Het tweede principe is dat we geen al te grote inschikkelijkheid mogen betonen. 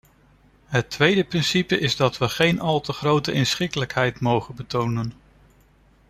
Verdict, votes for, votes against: accepted, 2, 0